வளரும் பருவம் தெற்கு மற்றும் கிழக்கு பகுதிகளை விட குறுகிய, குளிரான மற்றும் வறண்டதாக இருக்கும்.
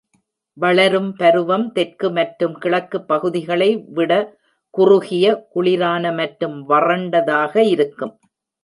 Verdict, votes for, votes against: accepted, 2, 0